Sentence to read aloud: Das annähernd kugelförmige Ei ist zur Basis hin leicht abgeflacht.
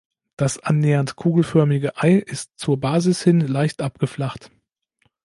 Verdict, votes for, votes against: accepted, 2, 0